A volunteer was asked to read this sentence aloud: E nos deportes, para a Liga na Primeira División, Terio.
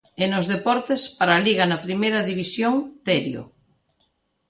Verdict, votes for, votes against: accepted, 2, 1